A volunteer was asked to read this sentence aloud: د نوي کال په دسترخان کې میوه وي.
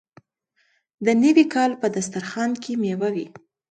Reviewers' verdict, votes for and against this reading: accepted, 2, 0